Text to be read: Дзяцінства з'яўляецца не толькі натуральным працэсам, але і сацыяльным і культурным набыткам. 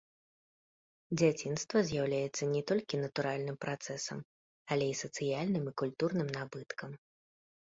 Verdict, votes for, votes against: rejected, 0, 2